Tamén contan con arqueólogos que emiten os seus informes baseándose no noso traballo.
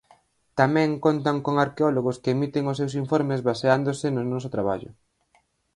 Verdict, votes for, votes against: accepted, 4, 0